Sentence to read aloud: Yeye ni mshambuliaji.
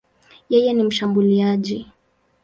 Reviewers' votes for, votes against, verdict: 2, 2, rejected